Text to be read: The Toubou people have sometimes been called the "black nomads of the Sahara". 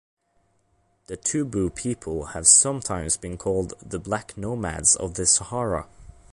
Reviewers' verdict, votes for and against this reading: accepted, 2, 1